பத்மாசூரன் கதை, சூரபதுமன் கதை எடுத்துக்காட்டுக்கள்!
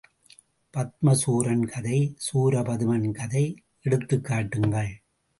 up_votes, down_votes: 0, 2